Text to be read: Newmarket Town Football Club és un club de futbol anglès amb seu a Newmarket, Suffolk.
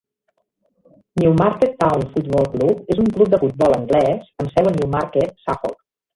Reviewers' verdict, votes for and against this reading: rejected, 1, 2